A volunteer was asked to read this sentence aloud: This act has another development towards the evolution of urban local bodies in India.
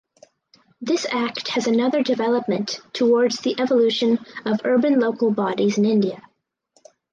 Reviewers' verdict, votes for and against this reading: accepted, 4, 0